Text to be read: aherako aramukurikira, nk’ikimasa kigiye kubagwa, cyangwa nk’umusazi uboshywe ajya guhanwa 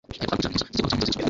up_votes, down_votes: 1, 2